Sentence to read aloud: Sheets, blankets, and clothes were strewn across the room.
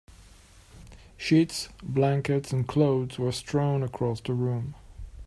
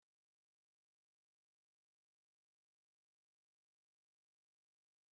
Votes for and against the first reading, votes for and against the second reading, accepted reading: 2, 0, 0, 2, first